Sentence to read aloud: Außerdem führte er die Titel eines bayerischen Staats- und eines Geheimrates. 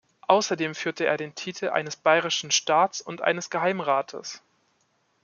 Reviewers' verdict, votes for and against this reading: rejected, 0, 2